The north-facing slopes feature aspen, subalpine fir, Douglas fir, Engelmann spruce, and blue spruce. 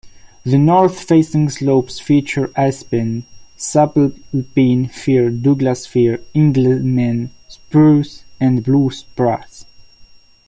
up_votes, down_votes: 0, 2